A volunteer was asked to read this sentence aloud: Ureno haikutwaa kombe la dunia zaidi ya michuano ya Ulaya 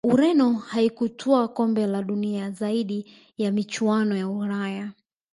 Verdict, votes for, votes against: rejected, 0, 2